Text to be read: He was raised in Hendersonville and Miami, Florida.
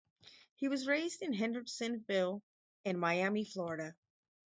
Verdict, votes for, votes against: accepted, 4, 0